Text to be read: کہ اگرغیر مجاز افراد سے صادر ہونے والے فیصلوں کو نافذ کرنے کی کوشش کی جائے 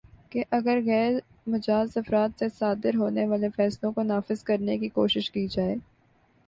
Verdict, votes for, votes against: accepted, 5, 2